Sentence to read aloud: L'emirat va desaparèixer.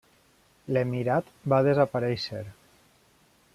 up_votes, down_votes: 3, 1